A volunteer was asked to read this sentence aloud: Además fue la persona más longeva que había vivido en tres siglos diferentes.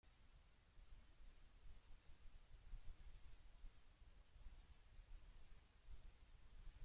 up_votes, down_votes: 0, 2